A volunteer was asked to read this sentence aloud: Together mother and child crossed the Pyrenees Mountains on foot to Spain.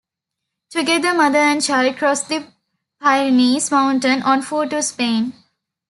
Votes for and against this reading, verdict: 0, 2, rejected